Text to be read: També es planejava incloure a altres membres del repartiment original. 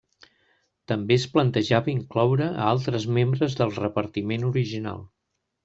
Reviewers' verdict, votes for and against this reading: rejected, 0, 2